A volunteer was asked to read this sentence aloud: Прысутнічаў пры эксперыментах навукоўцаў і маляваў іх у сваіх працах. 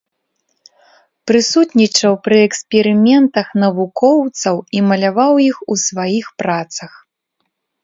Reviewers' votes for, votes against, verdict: 2, 0, accepted